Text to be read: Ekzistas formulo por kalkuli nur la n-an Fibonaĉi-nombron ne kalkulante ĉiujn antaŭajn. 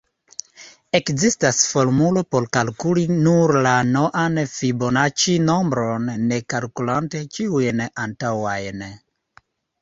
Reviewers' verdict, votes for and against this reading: accepted, 2, 0